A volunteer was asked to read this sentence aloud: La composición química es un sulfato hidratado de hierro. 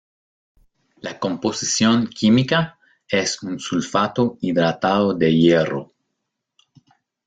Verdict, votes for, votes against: accepted, 2, 0